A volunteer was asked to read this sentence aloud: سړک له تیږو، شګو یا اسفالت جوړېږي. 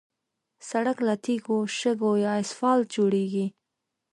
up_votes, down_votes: 2, 0